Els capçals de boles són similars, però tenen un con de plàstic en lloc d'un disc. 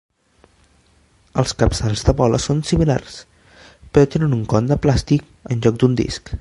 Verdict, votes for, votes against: accepted, 2, 0